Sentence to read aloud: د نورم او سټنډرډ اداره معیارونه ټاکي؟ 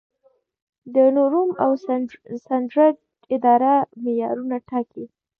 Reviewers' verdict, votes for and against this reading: rejected, 1, 2